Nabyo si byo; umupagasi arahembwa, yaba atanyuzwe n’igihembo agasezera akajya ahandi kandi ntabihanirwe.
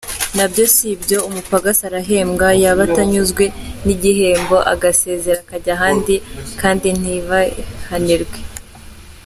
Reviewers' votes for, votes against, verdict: 1, 2, rejected